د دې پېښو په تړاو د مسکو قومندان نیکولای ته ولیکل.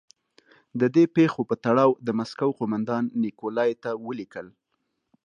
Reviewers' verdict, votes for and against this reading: accepted, 2, 0